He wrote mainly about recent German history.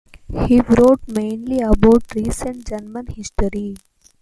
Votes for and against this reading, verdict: 2, 0, accepted